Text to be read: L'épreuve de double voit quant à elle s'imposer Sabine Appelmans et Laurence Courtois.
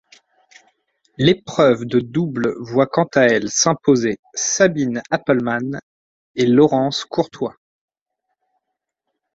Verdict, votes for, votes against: accepted, 2, 0